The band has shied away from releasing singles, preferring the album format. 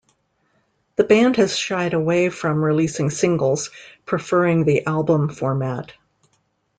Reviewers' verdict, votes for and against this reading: accepted, 2, 0